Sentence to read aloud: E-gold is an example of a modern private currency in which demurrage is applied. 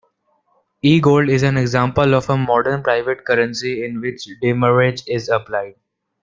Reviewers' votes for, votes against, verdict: 2, 1, accepted